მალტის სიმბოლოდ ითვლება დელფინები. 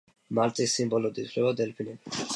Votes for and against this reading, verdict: 2, 0, accepted